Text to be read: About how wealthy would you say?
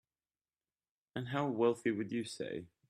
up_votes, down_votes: 1, 2